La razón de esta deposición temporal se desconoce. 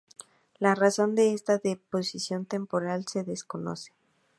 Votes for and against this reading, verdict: 2, 0, accepted